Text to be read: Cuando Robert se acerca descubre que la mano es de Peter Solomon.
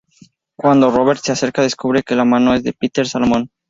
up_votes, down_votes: 2, 0